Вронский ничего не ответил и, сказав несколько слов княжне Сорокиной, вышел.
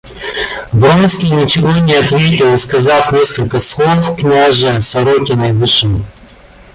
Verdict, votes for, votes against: rejected, 0, 2